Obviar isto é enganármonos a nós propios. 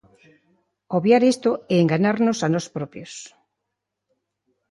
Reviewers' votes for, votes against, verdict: 1, 2, rejected